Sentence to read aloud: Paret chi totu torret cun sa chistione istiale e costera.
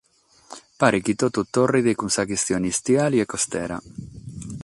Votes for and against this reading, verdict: 3, 3, rejected